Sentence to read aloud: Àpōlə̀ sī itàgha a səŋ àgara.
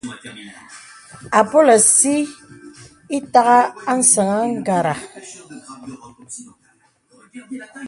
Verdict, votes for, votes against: accepted, 2, 0